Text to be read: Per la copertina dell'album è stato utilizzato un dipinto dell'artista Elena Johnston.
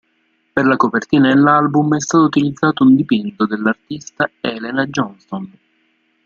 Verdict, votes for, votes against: rejected, 0, 2